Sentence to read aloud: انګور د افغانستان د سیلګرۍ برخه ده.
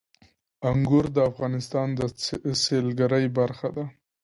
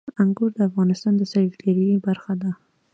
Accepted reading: second